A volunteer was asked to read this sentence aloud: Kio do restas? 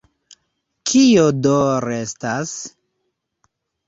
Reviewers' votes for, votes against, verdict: 2, 0, accepted